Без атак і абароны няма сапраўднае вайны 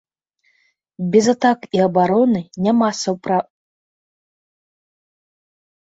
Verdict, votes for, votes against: rejected, 0, 2